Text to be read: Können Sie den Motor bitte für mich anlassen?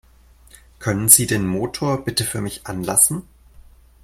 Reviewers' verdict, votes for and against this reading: accepted, 2, 0